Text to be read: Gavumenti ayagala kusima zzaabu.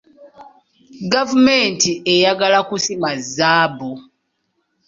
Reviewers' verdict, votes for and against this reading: rejected, 1, 2